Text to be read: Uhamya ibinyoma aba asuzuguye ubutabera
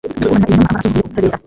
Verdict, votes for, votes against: rejected, 1, 2